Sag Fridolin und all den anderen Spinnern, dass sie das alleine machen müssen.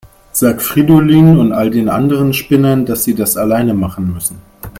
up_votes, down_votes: 2, 1